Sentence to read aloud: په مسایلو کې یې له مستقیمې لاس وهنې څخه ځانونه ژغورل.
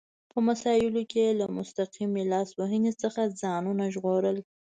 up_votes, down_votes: 2, 0